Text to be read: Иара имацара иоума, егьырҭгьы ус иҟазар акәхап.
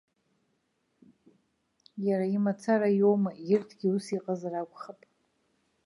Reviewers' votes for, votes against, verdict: 2, 0, accepted